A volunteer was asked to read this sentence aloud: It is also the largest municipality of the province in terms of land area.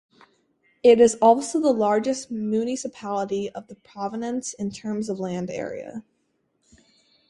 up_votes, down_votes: 2, 4